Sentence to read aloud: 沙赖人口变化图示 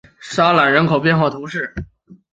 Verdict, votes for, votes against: accepted, 5, 0